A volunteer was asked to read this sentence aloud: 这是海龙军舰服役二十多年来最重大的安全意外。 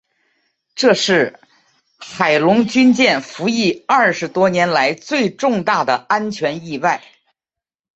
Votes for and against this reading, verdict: 2, 0, accepted